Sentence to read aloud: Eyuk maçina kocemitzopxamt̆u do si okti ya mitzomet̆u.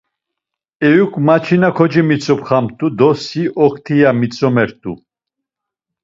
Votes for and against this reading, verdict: 2, 0, accepted